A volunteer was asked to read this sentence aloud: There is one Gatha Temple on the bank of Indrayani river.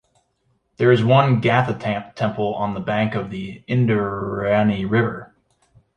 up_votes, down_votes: 0, 2